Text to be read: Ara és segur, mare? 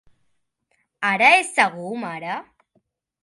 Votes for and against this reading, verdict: 3, 0, accepted